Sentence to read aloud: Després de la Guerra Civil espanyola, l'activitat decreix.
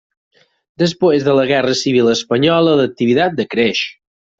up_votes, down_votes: 0, 4